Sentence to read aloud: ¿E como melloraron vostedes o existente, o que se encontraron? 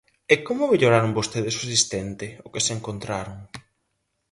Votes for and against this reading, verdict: 2, 2, rejected